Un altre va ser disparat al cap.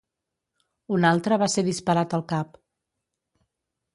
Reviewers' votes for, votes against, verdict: 2, 0, accepted